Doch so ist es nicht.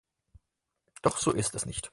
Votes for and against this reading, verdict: 4, 0, accepted